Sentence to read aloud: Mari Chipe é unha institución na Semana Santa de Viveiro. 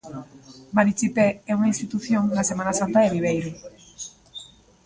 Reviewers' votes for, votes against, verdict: 0, 2, rejected